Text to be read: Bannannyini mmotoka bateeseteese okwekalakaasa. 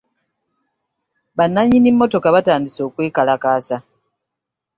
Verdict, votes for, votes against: rejected, 2, 4